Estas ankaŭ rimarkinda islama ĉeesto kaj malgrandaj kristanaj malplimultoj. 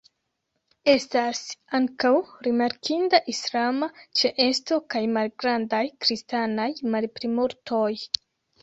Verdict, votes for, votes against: rejected, 0, 2